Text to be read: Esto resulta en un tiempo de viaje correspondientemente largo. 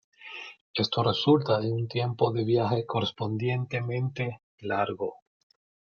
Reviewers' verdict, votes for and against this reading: accepted, 2, 0